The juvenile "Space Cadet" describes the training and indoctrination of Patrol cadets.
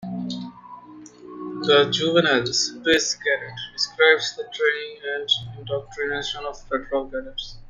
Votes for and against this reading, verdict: 2, 0, accepted